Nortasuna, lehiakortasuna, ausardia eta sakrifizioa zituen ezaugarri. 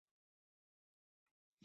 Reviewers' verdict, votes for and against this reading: rejected, 0, 2